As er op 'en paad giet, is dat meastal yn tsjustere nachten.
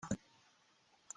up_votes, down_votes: 0, 2